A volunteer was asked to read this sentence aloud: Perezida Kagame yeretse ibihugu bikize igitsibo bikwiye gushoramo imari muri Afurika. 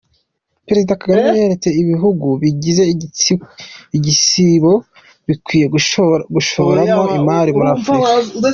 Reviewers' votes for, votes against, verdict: 0, 3, rejected